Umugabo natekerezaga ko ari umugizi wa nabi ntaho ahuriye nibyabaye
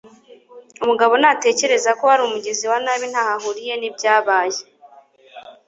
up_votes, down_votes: 1, 2